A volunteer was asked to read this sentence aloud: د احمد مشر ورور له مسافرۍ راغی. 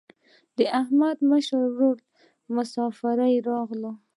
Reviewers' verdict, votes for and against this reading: rejected, 0, 2